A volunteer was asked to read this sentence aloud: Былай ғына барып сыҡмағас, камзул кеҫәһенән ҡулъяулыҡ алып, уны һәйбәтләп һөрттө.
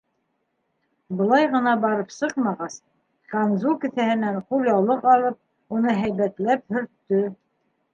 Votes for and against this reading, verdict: 2, 0, accepted